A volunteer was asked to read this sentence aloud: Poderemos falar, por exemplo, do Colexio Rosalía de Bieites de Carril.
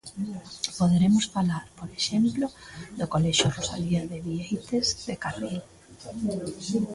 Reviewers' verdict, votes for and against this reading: rejected, 1, 2